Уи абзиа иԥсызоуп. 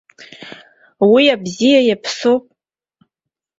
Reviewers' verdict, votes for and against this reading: rejected, 0, 2